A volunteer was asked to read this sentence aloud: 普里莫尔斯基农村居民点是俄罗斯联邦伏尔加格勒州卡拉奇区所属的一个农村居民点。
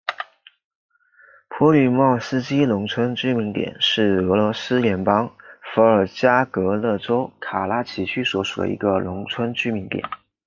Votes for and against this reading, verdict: 2, 0, accepted